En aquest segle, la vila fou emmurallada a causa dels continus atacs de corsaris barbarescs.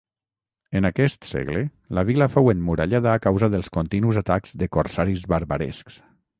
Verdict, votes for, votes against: accepted, 6, 0